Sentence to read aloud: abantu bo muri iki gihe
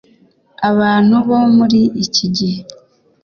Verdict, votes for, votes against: accepted, 2, 0